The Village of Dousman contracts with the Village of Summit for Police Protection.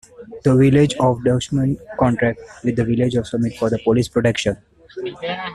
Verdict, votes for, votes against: rejected, 1, 2